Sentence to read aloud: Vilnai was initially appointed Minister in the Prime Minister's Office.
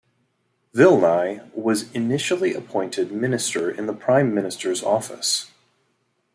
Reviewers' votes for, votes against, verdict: 2, 0, accepted